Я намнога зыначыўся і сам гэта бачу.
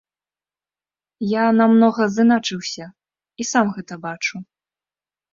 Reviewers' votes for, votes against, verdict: 2, 0, accepted